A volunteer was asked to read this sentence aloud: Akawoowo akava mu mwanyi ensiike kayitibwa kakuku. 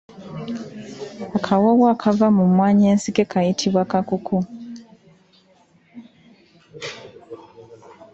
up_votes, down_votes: 0, 2